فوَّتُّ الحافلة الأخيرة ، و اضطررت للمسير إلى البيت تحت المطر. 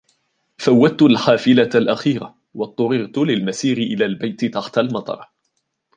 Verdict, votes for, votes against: accepted, 2, 0